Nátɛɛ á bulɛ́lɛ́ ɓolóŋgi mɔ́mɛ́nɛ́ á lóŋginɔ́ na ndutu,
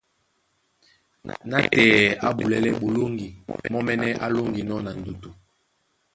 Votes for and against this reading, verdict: 1, 2, rejected